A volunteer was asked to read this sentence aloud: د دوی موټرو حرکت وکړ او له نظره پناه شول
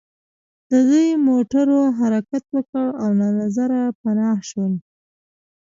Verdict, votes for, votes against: rejected, 0, 2